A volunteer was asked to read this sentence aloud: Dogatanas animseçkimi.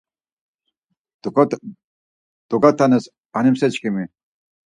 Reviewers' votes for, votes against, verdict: 0, 4, rejected